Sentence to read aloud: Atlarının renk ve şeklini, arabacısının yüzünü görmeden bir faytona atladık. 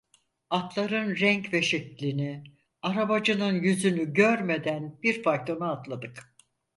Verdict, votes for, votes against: rejected, 2, 4